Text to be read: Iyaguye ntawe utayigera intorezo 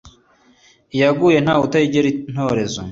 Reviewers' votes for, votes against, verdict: 2, 0, accepted